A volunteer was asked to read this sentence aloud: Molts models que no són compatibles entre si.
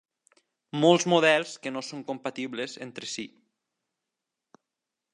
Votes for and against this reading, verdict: 3, 0, accepted